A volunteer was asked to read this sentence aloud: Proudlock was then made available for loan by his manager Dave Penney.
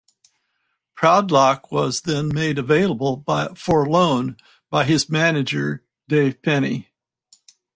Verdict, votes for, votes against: rejected, 2, 4